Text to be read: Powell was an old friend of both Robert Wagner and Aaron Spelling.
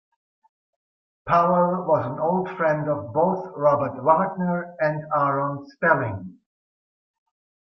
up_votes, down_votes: 2, 0